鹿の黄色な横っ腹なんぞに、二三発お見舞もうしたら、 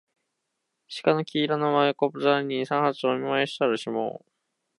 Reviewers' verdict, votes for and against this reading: rejected, 0, 2